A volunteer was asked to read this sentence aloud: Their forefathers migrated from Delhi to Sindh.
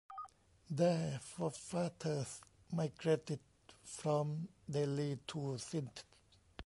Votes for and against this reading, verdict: 2, 0, accepted